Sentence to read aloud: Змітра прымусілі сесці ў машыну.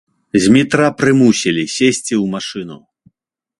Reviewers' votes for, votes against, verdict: 2, 0, accepted